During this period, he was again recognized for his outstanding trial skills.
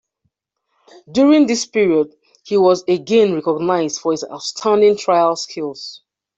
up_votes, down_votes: 2, 0